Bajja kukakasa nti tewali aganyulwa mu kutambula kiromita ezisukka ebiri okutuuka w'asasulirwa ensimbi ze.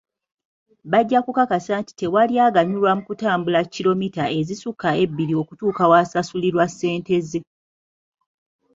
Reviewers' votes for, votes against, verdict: 1, 2, rejected